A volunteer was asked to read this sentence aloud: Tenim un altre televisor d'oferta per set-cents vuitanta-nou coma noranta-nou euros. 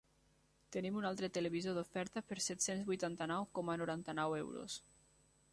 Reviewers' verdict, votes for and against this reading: accepted, 3, 0